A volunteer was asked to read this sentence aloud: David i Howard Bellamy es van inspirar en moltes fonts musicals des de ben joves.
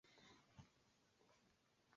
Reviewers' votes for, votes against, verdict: 0, 2, rejected